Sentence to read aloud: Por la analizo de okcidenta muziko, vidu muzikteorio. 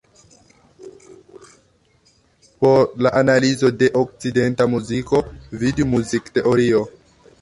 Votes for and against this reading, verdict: 0, 2, rejected